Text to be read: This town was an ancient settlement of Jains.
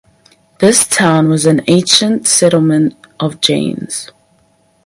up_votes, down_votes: 4, 0